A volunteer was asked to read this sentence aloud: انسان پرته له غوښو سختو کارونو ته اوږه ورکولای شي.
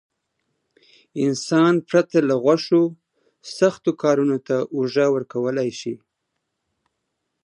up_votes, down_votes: 2, 0